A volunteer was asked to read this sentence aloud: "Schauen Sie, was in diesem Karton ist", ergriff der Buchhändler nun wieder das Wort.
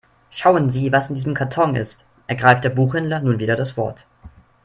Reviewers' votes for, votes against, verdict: 0, 3, rejected